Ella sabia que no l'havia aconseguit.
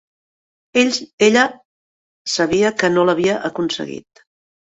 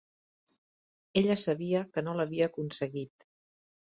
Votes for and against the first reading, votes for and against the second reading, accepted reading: 0, 2, 3, 0, second